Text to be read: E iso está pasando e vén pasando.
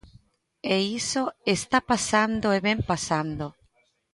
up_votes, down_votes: 2, 0